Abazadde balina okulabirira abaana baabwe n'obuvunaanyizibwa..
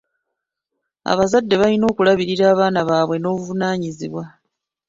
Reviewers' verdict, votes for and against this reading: accepted, 2, 1